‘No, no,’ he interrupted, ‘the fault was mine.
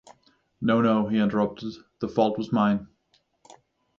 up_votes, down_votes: 6, 0